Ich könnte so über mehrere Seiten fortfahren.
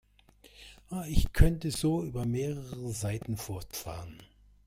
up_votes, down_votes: 2, 0